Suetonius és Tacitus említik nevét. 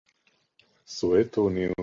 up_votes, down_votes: 0, 2